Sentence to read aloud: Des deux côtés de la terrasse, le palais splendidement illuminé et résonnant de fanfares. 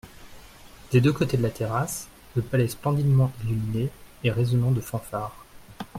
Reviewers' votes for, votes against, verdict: 2, 0, accepted